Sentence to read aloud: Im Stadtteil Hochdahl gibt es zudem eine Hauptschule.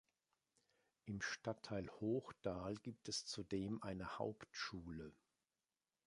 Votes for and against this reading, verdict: 3, 0, accepted